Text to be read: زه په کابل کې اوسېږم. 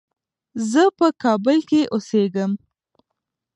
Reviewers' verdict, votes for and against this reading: rejected, 1, 2